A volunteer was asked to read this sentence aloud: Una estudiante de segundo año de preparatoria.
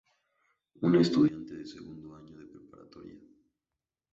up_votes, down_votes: 2, 0